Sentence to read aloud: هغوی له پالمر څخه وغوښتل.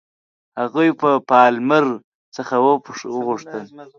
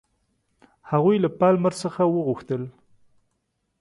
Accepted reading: second